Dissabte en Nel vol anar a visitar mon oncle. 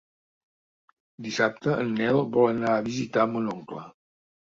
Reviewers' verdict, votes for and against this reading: accepted, 4, 1